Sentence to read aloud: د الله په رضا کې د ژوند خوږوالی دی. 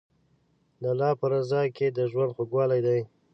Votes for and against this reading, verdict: 2, 0, accepted